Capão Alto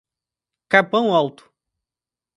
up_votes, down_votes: 2, 0